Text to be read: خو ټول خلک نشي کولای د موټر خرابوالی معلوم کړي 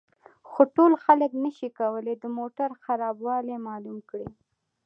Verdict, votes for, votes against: accepted, 2, 0